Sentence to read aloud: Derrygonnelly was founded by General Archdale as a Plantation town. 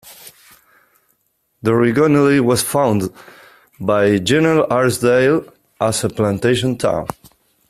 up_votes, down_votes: 0, 2